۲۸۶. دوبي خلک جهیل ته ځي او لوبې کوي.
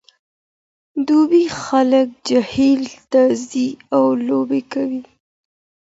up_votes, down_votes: 0, 2